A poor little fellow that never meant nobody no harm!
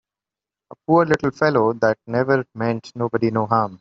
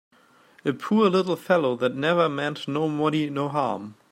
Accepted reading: first